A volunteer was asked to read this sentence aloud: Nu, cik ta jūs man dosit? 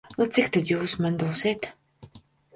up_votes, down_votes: 1, 2